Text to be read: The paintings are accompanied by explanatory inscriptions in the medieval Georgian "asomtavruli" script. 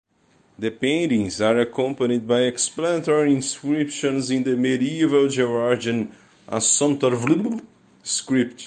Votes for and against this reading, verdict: 1, 2, rejected